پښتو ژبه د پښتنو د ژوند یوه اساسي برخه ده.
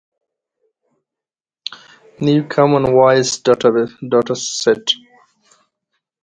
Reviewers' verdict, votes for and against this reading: rejected, 0, 2